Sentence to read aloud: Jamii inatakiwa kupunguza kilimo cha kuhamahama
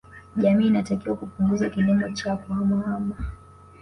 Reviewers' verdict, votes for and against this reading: accepted, 2, 1